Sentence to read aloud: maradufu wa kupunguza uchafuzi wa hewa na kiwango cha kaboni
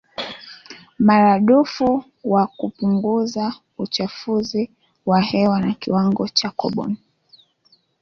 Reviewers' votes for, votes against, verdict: 1, 2, rejected